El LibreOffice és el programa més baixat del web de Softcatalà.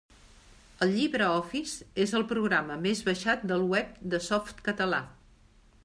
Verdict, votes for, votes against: rejected, 1, 2